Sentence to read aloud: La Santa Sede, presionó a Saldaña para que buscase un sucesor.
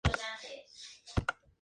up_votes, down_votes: 0, 2